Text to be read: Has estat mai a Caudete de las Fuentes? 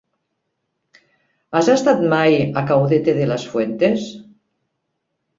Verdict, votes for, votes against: accepted, 3, 0